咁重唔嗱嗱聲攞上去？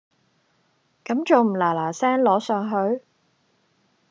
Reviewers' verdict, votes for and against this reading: rejected, 0, 2